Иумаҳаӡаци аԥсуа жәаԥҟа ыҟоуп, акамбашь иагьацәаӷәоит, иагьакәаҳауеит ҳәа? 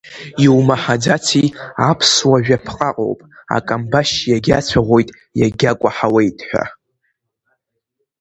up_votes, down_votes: 2, 0